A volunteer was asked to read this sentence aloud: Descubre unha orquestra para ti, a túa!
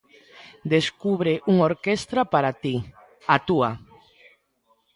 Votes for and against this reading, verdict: 0, 2, rejected